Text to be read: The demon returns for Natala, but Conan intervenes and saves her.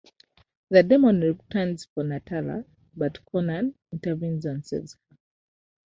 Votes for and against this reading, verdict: 2, 0, accepted